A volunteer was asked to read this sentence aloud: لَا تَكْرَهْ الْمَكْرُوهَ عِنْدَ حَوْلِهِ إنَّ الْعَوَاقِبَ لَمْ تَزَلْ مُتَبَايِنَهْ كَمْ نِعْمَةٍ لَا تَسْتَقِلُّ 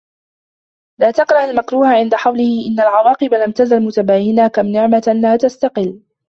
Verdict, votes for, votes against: rejected, 1, 2